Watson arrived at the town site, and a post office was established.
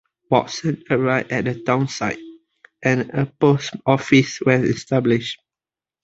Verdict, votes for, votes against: accepted, 2, 0